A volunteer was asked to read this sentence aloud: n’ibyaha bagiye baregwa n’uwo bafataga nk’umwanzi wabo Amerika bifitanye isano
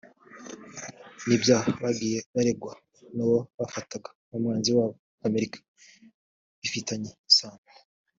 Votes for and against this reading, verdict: 2, 0, accepted